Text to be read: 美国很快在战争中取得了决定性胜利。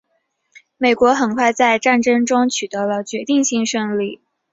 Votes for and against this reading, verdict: 3, 1, accepted